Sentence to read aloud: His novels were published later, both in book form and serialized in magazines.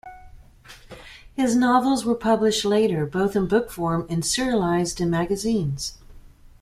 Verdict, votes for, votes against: accepted, 2, 0